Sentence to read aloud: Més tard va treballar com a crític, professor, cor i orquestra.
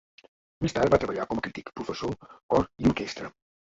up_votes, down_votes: 1, 2